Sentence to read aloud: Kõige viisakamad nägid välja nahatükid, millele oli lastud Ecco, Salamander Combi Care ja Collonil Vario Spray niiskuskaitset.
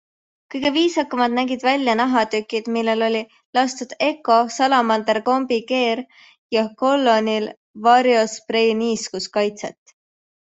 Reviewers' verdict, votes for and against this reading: accepted, 2, 0